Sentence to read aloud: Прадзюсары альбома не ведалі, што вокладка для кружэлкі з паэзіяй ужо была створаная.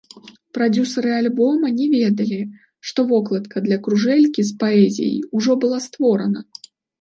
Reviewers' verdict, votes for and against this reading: rejected, 0, 2